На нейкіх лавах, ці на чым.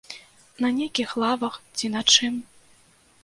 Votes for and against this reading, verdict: 2, 0, accepted